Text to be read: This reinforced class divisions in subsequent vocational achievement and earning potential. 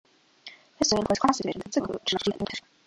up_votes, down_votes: 0, 2